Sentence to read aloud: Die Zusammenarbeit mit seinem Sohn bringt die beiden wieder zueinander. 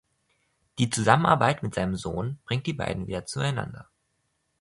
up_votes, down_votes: 2, 0